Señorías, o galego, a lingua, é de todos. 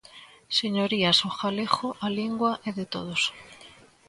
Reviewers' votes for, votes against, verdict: 2, 0, accepted